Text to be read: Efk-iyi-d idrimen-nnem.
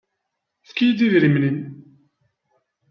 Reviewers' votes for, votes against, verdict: 2, 0, accepted